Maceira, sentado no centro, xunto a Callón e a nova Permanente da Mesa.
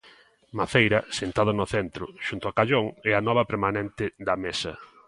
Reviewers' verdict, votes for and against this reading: rejected, 1, 2